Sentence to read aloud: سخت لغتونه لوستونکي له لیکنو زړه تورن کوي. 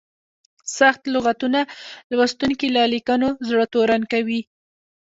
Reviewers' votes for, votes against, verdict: 2, 1, accepted